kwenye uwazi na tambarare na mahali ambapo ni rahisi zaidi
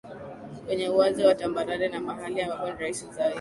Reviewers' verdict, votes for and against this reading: accepted, 2, 0